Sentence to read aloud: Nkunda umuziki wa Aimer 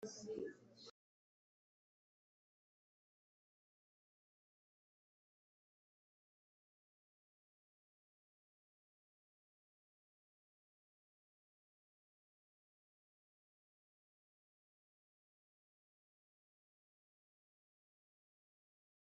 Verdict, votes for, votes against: rejected, 1, 2